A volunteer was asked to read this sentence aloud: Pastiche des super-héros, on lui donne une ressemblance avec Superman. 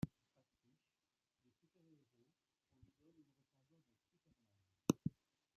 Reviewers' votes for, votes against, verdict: 1, 2, rejected